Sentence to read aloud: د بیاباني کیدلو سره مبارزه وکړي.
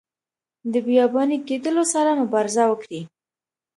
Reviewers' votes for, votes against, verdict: 2, 0, accepted